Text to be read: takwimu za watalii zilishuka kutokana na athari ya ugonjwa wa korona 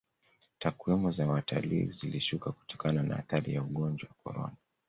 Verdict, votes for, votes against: rejected, 0, 2